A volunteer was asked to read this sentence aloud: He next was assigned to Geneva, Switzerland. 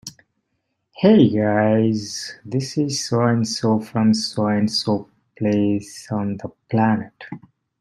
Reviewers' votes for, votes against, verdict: 0, 2, rejected